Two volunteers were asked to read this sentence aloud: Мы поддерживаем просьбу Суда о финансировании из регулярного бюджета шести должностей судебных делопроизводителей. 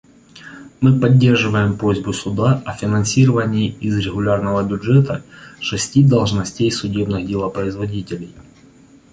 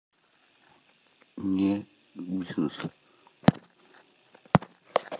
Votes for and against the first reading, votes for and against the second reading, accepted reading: 2, 0, 0, 2, first